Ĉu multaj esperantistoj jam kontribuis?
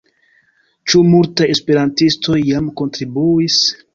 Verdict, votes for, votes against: accepted, 2, 0